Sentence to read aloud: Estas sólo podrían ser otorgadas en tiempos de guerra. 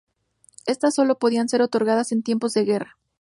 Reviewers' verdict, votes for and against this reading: accepted, 2, 0